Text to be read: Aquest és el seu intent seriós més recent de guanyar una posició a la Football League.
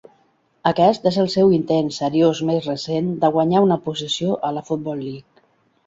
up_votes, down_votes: 2, 0